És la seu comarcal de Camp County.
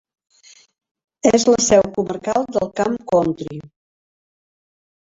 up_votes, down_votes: 1, 2